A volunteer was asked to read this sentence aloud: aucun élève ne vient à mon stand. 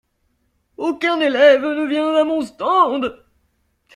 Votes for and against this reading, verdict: 1, 2, rejected